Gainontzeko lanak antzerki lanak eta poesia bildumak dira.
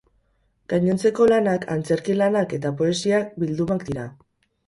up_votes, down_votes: 2, 4